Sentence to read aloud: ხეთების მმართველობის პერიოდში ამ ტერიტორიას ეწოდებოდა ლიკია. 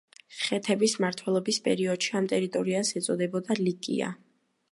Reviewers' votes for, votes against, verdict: 2, 0, accepted